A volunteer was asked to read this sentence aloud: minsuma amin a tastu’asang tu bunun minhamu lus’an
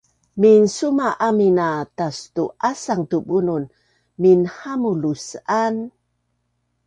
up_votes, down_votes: 2, 0